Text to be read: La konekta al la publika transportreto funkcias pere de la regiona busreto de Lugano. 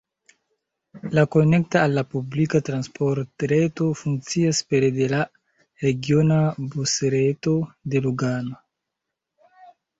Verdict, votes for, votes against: accepted, 2, 0